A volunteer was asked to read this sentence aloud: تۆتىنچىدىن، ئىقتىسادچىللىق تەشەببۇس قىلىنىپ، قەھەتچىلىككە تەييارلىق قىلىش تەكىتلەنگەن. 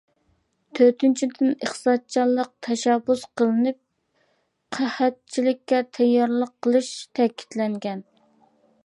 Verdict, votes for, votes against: rejected, 1, 2